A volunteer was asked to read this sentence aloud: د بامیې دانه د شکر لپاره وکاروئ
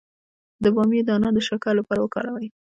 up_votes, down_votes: 0, 2